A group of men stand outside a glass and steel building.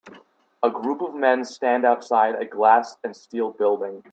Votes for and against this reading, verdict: 3, 0, accepted